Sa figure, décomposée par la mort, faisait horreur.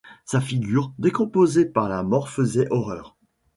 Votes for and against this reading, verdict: 2, 0, accepted